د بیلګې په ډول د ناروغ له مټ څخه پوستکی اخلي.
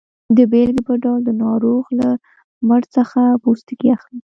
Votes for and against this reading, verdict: 1, 2, rejected